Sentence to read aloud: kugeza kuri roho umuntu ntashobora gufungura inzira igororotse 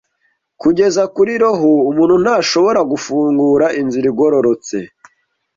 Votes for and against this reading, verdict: 2, 0, accepted